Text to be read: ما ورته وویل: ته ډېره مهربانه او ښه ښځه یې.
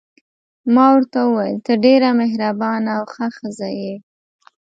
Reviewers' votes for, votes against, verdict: 2, 0, accepted